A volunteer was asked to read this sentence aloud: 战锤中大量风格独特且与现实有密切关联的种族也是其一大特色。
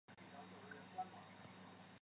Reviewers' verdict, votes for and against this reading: rejected, 0, 2